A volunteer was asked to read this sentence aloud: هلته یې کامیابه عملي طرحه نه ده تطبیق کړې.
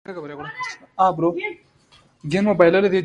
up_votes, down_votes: 2, 0